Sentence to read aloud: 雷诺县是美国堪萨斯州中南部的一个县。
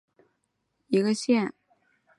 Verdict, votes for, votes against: rejected, 1, 6